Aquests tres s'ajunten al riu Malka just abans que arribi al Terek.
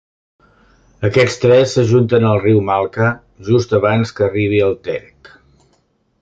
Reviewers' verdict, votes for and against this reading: rejected, 0, 2